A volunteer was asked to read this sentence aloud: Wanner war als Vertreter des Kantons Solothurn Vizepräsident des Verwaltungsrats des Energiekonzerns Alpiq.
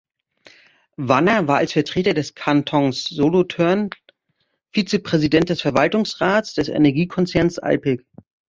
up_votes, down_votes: 1, 2